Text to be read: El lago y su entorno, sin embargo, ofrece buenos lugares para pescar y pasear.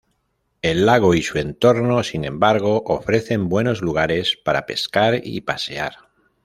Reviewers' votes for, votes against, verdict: 0, 2, rejected